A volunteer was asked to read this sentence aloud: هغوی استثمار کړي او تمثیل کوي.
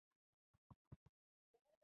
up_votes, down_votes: 1, 2